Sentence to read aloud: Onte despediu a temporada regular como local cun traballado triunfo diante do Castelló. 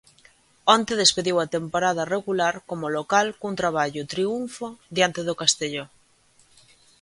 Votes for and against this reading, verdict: 1, 2, rejected